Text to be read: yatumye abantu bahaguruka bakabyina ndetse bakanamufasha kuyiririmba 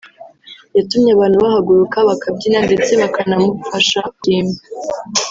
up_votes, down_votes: 0, 2